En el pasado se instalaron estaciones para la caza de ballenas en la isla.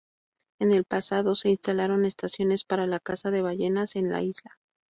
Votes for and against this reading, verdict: 4, 0, accepted